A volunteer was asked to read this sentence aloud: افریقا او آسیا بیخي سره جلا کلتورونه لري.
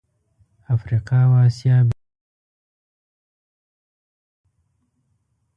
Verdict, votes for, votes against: rejected, 0, 2